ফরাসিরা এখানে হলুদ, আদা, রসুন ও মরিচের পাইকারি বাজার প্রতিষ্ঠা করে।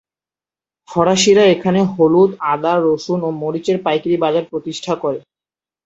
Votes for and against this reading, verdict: 4, 0, accepted